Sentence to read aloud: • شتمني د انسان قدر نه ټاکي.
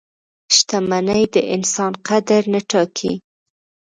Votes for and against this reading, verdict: 2, 0, accepted